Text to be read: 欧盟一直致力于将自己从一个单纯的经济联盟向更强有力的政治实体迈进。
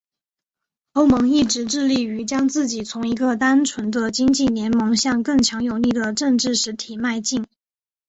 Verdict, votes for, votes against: accepted, 3, 0